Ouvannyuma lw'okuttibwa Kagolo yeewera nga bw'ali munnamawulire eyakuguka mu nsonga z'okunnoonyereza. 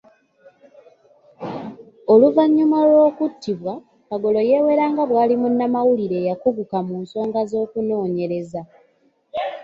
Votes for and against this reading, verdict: 2, 0, accepted